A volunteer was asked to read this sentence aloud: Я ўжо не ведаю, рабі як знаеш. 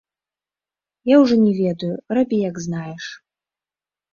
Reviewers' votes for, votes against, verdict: 2, 0, accepted